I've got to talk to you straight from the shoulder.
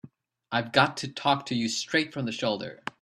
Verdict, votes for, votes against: accepted, 3, 0